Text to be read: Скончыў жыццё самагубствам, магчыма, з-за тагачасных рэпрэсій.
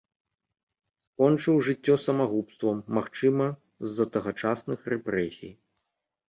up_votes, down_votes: 2, 0